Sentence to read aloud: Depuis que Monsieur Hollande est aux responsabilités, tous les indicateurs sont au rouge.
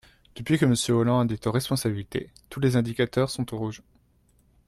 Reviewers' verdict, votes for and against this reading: rejected, 1, 2